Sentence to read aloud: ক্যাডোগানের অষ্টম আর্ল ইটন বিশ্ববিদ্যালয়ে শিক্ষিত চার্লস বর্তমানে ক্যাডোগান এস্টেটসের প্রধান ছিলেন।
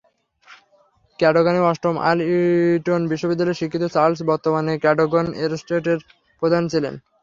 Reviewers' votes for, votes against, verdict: 0, 3, rejected